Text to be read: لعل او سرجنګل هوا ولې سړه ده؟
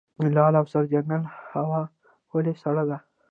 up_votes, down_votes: 1, 2